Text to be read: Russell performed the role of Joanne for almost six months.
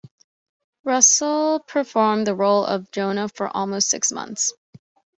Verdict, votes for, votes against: rejected, 1, 2